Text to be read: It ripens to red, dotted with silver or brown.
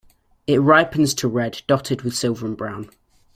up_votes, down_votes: 1, 2